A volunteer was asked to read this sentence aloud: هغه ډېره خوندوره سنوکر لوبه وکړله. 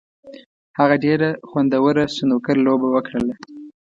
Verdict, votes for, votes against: accepted, 2, 0